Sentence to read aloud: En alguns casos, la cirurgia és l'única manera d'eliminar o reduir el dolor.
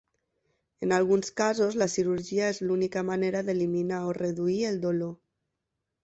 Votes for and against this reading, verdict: 3, 0, accepted